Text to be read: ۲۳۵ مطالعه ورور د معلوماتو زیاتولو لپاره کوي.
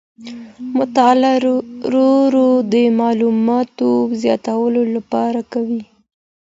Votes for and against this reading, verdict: 0, 2, rejected